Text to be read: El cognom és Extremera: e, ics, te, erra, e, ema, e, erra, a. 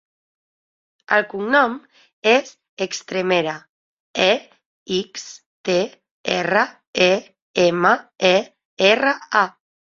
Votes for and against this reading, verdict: 3, 1, accepted